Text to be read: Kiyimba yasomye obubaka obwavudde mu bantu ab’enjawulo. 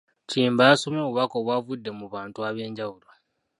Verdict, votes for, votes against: rejected, 1, 2